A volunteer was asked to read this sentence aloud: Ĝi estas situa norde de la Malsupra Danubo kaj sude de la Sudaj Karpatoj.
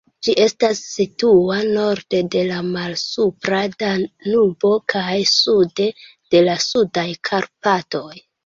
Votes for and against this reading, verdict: 2, 1, accepted